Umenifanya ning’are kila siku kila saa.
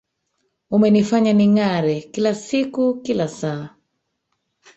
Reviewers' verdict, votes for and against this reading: rejected, 0, 3